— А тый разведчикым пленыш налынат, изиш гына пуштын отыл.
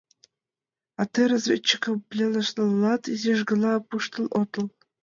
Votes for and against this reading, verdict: 2, 3, rejected